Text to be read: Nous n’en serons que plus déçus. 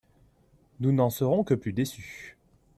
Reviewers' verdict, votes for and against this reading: accepted, 2, 0